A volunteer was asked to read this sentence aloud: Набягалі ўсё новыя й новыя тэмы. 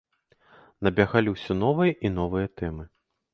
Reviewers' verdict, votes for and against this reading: rejected, 1, 2